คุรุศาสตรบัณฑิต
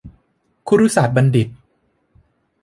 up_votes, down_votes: 2, 0